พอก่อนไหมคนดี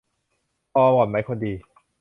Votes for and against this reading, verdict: 0, 2, rejected